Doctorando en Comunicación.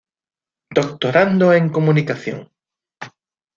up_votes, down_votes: 2, 0